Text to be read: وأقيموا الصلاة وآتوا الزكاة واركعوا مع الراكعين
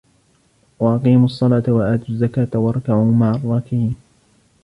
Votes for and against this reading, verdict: 1, 2, rejected